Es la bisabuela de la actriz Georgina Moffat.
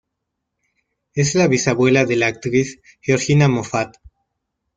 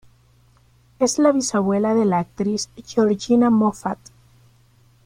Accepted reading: first